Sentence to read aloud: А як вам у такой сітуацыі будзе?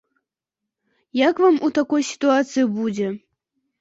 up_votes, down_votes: 2, 0